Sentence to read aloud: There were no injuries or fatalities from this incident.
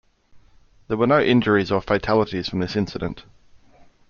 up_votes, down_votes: 1, 2